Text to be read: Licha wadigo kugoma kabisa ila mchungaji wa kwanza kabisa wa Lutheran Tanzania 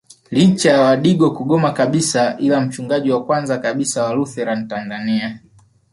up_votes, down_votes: 1, 2